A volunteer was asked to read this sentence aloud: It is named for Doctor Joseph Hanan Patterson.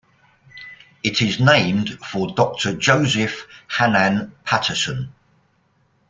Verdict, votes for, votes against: accepted, 2, 0